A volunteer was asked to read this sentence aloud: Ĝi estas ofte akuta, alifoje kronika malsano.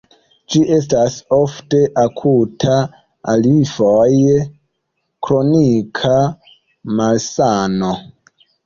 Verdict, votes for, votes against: rejected, 0, 2